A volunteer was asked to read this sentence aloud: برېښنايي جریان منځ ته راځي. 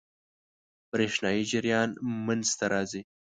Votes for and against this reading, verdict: 6, 0, accepted